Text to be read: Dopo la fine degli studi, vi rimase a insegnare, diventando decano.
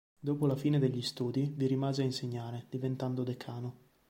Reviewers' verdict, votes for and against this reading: accepted, 3, 0